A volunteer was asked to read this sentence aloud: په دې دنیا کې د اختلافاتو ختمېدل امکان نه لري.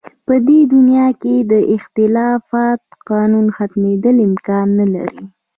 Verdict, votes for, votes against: accepted, 2, 0